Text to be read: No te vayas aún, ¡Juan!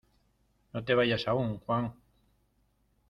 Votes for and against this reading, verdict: 2, 1, accepted